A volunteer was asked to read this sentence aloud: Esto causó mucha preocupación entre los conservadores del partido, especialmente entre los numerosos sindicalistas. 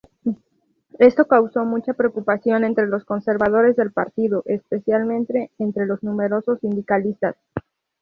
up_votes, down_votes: 2, 0